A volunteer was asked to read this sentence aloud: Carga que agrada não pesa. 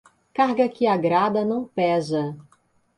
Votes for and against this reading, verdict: 2, 0, accepted